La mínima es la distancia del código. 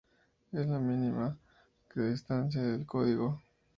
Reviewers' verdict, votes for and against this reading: accepted, 2, 0